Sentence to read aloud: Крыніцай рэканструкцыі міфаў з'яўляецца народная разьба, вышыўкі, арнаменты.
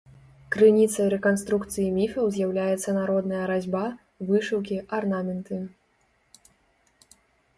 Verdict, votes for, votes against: accepted, 2, 0